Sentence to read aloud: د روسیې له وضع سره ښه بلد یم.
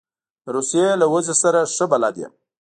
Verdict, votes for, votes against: accepted, 2, 0